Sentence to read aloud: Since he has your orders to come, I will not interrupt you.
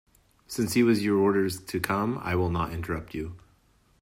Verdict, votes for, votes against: rejected, 0, 2